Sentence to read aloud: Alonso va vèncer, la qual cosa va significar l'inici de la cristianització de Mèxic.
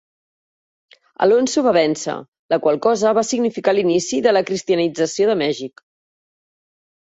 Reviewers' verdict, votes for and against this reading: accepted, 3, 0